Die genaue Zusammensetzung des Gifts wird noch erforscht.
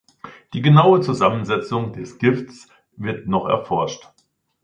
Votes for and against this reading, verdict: 2, 0, accepted